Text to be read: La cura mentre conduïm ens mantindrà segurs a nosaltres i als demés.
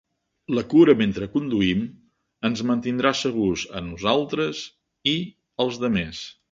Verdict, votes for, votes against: accepted, 3, 0